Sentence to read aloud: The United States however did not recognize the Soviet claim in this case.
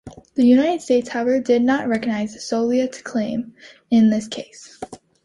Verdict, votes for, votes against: accepted, 2, 0